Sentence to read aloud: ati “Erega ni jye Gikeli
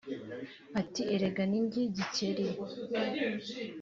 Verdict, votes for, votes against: rejected, 1, 2